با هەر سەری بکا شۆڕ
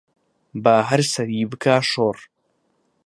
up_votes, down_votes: 2, 0